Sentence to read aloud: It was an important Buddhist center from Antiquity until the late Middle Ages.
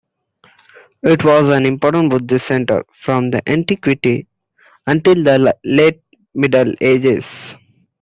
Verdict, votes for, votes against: accepted, 2, 1